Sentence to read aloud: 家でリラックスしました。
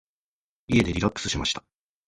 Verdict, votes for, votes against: rejected, 1, 2